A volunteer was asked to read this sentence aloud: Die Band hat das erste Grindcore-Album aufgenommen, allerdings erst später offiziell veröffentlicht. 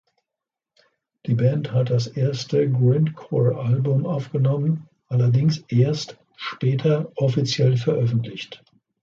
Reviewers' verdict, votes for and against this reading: accepted, 2, 1